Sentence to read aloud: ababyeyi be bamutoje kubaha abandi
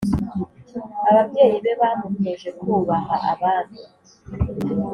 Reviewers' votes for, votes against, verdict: 2, 0, accepted